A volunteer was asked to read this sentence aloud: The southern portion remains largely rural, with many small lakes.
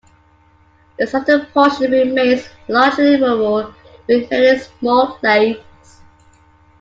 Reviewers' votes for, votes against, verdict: 1, 2, rejected